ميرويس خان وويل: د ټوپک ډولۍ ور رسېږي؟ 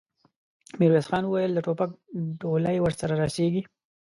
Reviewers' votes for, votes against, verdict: 1, 2, rejected